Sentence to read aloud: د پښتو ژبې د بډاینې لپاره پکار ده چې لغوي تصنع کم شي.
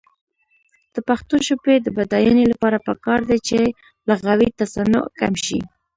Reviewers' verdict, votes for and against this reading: rejected, 1, 2